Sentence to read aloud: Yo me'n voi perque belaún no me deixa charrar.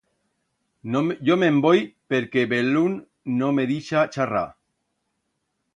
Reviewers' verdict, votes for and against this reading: rejected, 1, 2